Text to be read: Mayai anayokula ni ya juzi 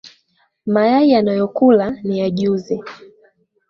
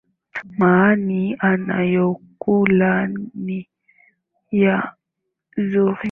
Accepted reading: first